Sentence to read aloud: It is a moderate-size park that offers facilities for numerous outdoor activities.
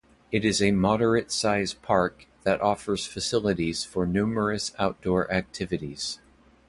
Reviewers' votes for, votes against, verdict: 2, 0, accepted